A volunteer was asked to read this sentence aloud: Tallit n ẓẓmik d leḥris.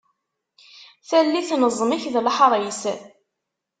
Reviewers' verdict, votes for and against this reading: accepted, 2, 0